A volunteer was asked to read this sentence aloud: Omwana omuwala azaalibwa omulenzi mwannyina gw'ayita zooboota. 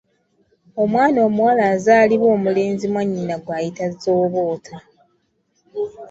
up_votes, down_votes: 2, 0